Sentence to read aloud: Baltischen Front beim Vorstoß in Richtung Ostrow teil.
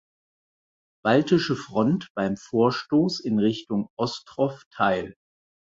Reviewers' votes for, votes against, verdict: 0, 4, rejected